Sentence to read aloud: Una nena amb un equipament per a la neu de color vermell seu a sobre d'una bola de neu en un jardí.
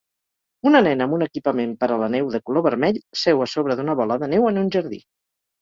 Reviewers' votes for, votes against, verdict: 4, 0, accepted